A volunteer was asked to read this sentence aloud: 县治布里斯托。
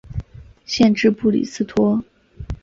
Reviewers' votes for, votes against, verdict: 6, 0, accepted